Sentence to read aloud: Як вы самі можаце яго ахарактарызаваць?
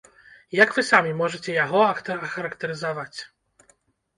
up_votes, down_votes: 0, 2